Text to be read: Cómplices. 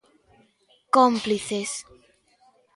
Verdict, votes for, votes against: accepted, 2, 0